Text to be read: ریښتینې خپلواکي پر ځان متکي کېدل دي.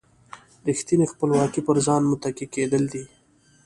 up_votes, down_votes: 2, 0